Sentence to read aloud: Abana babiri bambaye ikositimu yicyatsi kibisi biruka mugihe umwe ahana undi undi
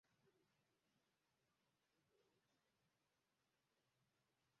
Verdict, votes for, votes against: rejected, 0, 2